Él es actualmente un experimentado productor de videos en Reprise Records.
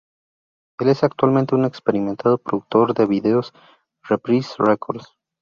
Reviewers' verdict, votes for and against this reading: rejected, 0, 2